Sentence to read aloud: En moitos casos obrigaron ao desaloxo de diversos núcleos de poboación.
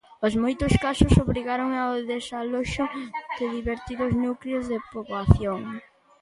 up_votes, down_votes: 0, 2